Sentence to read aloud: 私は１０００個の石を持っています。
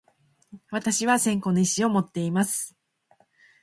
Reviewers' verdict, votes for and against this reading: rejected, 0, 2